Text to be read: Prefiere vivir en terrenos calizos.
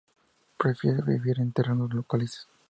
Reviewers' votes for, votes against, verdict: 2, 0, accepted